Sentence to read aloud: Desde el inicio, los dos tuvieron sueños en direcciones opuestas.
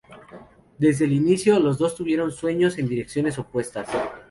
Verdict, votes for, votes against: accepted, 4, 0